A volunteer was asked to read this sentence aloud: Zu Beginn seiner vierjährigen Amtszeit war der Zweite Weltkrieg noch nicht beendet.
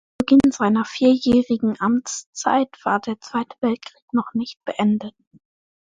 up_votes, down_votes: 0, 2